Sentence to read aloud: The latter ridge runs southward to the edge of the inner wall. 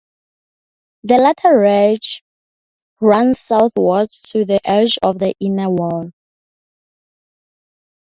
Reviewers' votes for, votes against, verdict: 4, 0, accepted